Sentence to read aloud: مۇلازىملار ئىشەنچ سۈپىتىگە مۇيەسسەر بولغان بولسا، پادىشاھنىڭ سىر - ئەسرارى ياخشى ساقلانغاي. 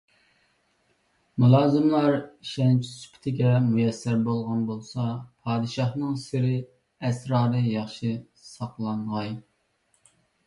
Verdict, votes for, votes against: rejected, 0, 2